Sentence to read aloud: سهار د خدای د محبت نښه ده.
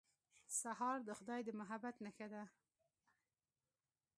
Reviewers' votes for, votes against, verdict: 2, 0, accepted